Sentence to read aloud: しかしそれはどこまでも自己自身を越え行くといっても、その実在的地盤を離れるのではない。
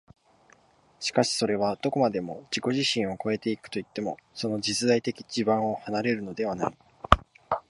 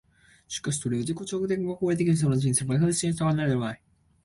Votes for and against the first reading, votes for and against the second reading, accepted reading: 5, 1, 0, 5, first